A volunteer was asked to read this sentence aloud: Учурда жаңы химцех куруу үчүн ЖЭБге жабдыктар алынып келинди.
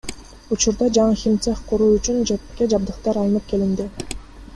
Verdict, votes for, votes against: accepted, 2, 0